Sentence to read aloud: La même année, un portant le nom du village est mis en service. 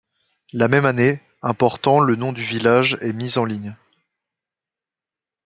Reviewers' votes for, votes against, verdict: 1, 2, rejected